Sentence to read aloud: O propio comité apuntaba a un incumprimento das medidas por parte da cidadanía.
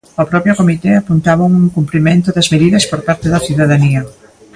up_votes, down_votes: 2, 0